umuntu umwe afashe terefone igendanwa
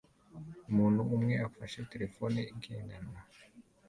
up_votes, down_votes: 2, 0